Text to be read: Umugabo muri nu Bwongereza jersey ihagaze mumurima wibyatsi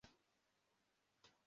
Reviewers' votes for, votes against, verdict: 0, 2, rejected